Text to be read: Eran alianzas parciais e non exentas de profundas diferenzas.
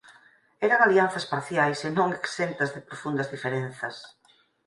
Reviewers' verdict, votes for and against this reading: accepted, 4, 0